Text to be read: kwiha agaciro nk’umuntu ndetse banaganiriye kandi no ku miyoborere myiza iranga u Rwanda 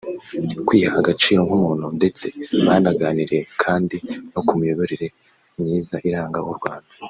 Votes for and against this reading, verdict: 2, 0, accepted